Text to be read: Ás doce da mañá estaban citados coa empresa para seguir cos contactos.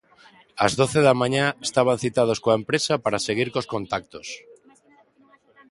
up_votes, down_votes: 2, 0